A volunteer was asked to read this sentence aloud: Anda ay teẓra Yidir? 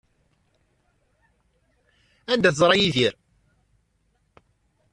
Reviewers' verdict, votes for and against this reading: accepted, 2, 0